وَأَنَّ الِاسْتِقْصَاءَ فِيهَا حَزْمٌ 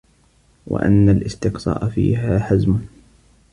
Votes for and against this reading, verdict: 2, 0, accepted